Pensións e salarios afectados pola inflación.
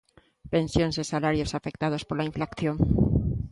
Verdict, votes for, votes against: rejected, 1, 2